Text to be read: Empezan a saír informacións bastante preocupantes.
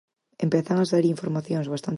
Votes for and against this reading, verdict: 0, 4, rejected